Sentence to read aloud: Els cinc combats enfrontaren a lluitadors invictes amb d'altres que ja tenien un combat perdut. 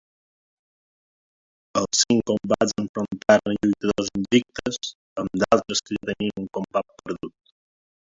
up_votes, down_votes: 0, 2